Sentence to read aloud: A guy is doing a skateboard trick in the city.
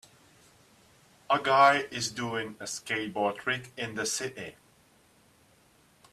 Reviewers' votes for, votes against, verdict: 2, 0, accepted